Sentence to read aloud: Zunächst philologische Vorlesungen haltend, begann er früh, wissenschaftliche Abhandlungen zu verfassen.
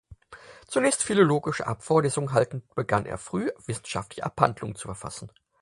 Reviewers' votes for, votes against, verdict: 0, 4, rejected